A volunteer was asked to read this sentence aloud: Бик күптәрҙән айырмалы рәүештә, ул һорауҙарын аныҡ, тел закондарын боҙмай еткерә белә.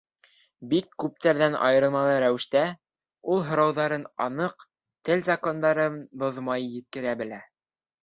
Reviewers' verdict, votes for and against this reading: accepted, 2, 0